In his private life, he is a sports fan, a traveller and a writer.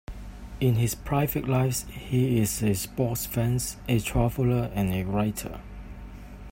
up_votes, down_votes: 2, 0